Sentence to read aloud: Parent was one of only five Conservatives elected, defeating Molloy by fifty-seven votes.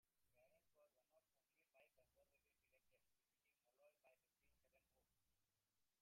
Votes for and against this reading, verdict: 0, 2, rejected